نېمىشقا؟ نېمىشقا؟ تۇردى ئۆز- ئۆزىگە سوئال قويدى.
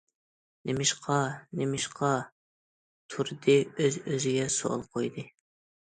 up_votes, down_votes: 2, 0